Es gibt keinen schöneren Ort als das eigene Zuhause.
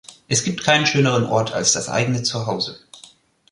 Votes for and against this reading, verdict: 2, 0, accepted